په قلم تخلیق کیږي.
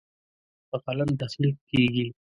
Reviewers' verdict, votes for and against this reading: rejected, 1, 2